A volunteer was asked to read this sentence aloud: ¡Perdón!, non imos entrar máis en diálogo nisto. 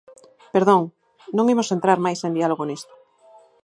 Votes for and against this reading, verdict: 4, 0, accepted